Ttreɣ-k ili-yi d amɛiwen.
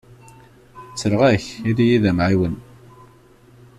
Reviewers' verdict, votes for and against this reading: rejected, 1, 2